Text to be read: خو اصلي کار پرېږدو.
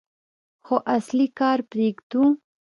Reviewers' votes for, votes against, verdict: 1, 2, rejected